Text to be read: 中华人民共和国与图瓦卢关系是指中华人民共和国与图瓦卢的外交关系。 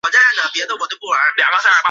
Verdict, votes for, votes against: accepted, 2, 0